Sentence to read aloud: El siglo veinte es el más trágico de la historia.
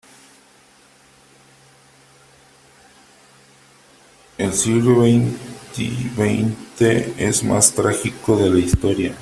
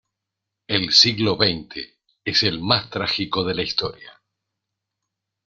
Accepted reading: second